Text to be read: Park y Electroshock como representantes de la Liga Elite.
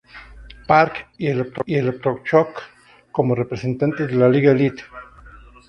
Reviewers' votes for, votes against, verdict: 0, 4, rejected